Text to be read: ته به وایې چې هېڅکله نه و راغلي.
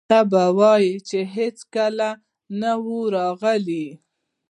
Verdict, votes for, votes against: rejected, 0, 2